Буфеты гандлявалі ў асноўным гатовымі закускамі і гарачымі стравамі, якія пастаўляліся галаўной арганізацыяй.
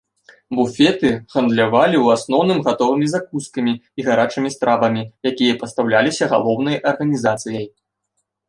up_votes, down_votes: 0, 2